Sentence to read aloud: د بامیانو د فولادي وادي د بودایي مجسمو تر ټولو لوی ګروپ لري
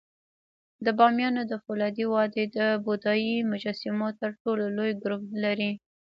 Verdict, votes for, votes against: rejected, 0, 2